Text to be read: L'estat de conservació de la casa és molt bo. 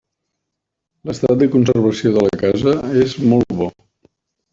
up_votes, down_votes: 3, 0